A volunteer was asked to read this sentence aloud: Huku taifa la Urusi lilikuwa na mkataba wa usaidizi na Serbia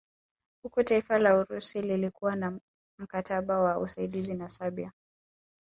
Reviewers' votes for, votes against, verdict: 0, 2, rejected